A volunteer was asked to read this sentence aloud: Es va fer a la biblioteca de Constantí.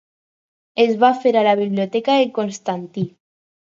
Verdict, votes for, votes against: accepted, 4, 0